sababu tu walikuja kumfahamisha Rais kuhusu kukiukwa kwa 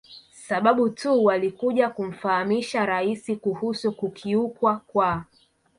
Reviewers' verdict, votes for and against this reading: rejected, 0, 2